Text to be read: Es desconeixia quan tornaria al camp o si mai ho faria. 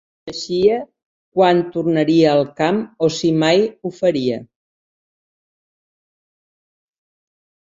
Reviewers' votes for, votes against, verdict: 0, 3, rejected